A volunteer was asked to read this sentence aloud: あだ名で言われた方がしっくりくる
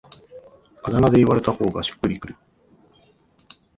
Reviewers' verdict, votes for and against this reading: accepted, 2, 0